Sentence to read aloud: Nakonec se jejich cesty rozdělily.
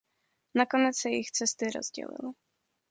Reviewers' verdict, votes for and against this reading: accepted, 2, 0